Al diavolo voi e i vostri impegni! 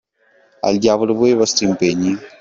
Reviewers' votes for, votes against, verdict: 2, 1, accepted